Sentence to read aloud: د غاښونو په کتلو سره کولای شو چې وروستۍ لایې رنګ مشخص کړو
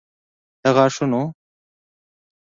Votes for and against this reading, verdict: 0, 2, rejected